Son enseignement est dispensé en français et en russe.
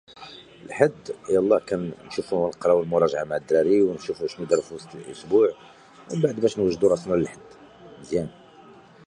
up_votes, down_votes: 0, 2